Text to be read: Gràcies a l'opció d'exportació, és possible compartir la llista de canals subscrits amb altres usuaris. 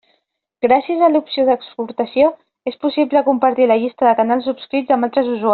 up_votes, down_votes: 0, 2